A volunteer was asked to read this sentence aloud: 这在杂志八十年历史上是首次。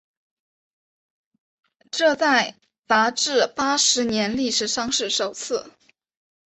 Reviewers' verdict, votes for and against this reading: accepted, 6, 0